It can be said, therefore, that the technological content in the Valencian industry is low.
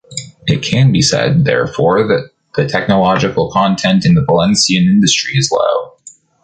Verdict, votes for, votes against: accepted, 3, 1